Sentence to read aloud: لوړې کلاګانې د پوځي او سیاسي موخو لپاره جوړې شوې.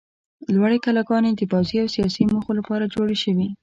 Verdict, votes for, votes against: accepted, 2, 0